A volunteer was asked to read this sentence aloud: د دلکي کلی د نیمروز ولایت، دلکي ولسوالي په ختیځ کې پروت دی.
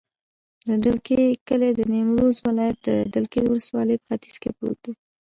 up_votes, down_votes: 1, 2